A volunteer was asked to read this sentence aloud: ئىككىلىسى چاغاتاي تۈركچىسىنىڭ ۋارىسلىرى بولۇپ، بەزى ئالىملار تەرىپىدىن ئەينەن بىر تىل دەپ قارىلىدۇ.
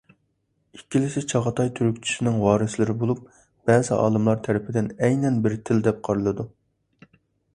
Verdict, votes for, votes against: accepted, 2, 1